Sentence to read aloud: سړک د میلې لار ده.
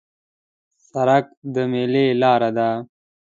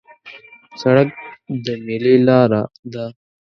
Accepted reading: first